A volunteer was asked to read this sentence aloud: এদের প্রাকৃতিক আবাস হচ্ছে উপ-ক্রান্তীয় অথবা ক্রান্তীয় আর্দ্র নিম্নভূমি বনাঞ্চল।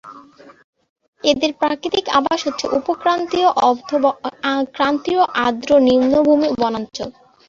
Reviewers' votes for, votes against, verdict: 0, 2, rejected